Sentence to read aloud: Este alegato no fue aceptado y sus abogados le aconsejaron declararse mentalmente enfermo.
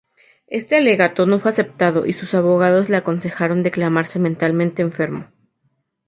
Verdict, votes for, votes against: rejected, 2, 2